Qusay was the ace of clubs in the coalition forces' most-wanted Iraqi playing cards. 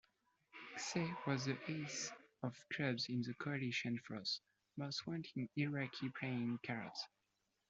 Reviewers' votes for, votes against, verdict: 2, 0, accepted